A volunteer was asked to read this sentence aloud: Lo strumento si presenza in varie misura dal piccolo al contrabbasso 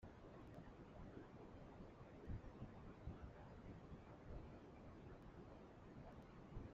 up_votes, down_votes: 0, 2